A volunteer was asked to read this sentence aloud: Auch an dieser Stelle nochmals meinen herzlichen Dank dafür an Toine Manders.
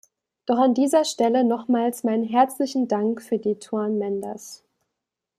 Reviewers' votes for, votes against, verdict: 1, 2, rejected